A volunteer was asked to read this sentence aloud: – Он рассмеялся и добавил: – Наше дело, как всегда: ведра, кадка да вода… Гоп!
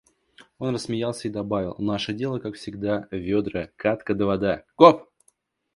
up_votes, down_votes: 2, 0